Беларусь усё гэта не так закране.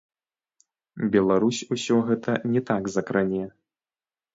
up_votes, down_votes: 0, 2